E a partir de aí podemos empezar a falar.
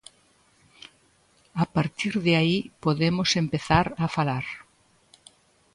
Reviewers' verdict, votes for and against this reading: rejected, 0, 2